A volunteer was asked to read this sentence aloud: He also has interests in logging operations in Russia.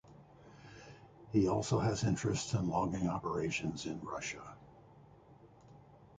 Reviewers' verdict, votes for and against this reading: accepted, 2, 0